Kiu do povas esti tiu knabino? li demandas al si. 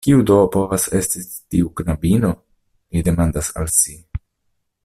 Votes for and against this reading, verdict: 1, 2, rejected